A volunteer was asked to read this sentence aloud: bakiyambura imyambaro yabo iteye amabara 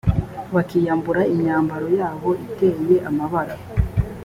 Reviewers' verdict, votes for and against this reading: accepted, 2, 0